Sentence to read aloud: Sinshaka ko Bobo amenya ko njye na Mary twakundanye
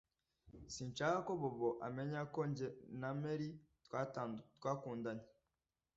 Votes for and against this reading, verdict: 0, 2, rejected